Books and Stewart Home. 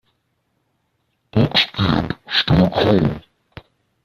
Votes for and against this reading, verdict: 0, 2, rejected